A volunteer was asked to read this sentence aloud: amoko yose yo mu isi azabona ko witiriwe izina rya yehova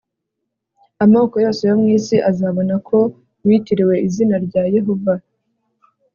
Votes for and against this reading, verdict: 3, 0, accepted